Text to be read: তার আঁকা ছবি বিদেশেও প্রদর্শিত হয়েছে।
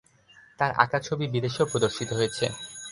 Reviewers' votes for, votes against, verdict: 4, 0, accepted